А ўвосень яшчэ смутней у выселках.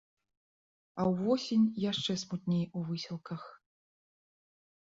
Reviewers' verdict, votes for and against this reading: accepted, 2, 0